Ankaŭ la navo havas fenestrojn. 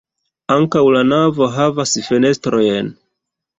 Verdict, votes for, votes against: accepted, 2, 0